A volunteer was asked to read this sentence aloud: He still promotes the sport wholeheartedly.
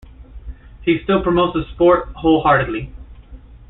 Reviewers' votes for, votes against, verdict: 2, 0, accepted